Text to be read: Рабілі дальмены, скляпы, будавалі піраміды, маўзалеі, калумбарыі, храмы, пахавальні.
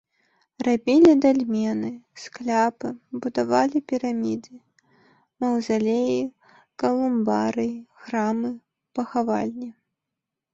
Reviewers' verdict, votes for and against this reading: rejected, 1, 2